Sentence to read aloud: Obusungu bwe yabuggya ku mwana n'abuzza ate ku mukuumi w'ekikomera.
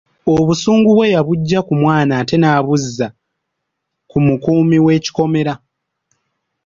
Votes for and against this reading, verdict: 0, 2, rejected